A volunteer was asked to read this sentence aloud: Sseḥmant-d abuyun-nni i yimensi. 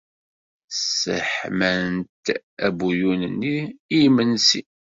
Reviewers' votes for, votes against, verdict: 2, 0, accepted